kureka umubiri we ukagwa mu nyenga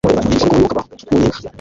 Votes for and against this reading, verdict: 1, 2, rejected